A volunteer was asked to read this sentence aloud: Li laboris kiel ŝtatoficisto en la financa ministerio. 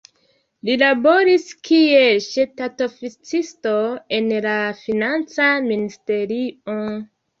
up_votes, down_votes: 2, 1